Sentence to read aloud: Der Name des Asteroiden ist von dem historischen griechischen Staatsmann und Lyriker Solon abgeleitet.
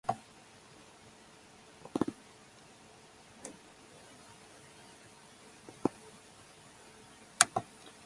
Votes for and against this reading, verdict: 0, 4, rejected